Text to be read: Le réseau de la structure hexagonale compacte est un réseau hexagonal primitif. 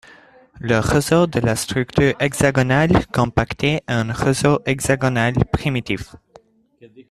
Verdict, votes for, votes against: rejected, 1, 2